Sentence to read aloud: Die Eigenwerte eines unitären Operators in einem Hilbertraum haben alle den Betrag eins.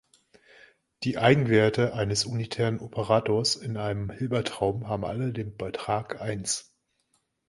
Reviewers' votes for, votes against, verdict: 2, 1, accepted